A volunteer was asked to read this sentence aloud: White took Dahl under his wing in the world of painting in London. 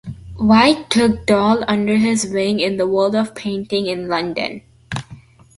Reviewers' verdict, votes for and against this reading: accepted, 2, 0